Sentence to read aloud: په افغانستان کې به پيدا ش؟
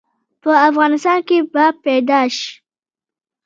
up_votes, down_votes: 1, 2